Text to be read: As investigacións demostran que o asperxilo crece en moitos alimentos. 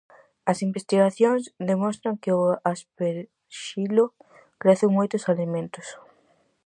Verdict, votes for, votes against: rejected, 2, 2